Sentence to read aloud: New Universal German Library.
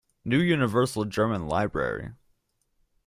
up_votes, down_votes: 1, 2